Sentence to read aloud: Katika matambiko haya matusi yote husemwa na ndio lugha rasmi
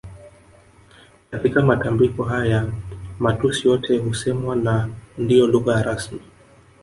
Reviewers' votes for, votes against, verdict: 0, 2, rejected